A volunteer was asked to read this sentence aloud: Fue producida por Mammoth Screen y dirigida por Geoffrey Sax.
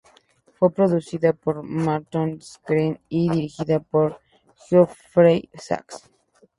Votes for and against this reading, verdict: 2, 2, rejected